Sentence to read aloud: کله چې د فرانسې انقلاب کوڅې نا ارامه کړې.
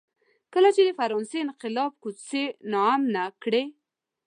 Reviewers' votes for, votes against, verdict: 1, 2, rejected